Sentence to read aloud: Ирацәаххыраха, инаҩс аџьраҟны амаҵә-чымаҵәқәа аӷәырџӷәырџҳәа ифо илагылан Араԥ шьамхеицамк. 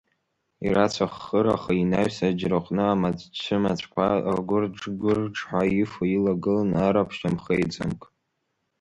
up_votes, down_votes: 2, 1